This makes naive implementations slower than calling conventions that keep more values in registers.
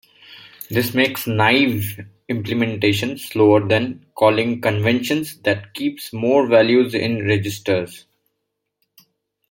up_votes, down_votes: 1, 2